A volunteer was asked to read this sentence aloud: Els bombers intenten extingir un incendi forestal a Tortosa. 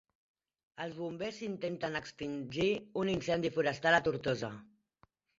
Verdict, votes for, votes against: accepted, 2, 1